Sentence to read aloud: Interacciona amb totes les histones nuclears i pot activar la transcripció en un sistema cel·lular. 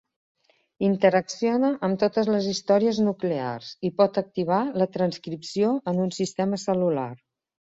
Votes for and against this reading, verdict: 0, 2, rejected